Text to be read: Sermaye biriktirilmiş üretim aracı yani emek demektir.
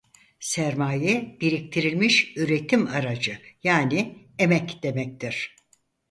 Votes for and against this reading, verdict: 4, 0, accepted